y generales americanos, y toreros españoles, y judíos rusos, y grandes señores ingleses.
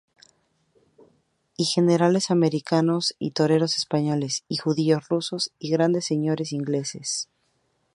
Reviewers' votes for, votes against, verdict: 2, 0, accepted